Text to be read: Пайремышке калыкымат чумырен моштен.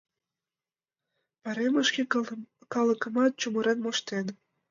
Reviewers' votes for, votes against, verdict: 0, 2, rejected